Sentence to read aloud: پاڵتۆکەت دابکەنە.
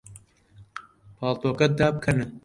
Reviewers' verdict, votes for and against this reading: accepted, 2, 1